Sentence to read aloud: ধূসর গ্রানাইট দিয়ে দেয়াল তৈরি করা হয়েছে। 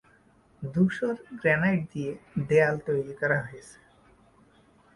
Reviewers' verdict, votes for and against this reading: rejected, 0, 2